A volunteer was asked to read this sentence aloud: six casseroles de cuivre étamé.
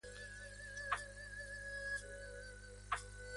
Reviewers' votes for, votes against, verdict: 1, 2, rejected